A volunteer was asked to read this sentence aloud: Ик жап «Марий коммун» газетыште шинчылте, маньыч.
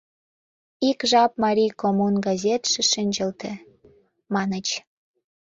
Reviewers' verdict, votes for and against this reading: rejected, 1, 2